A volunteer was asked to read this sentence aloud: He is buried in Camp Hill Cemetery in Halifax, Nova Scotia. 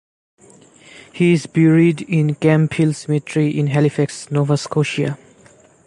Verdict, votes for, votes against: accepted, 3, 0